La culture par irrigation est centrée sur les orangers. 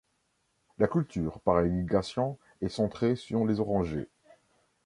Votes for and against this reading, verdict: 0, 2, rejected